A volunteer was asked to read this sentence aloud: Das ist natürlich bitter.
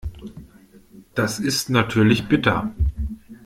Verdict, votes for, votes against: accepted, 2, 0